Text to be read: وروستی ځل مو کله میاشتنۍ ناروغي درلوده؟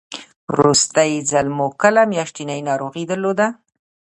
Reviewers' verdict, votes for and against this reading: rejected, 1, 2